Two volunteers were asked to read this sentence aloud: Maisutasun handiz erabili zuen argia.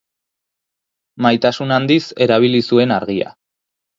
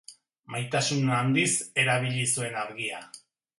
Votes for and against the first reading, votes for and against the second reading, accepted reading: 0, 6, 2, 0, second